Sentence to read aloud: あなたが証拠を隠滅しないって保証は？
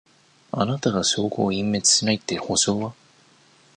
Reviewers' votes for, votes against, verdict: 2, 0, accepted